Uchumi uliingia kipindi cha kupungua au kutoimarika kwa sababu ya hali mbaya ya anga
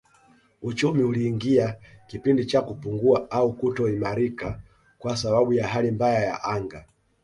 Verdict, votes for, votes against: accepted, 2, 0